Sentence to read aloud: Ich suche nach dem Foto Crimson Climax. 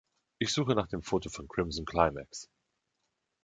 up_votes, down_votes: 0, 3